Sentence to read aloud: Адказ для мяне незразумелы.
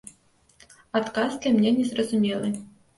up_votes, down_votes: 0, 2